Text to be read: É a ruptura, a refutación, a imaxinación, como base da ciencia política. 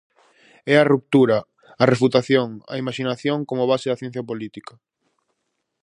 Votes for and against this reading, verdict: 4, 0, accepted